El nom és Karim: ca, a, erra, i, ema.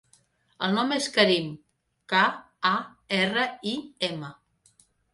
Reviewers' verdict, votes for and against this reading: accepted, 3, 0